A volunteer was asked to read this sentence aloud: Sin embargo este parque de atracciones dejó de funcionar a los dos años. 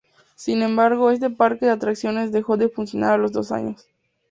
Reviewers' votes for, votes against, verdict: 2, 0, accepted